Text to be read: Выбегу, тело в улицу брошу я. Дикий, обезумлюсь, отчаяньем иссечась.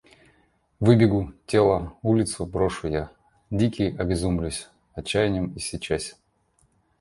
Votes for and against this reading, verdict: 2, 0, accepted